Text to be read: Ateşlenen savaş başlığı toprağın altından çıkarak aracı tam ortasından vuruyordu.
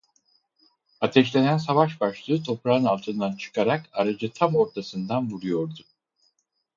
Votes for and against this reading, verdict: 4, 0, accepted